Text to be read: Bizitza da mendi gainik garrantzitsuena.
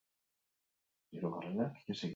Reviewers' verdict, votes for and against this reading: accepted, 4, 2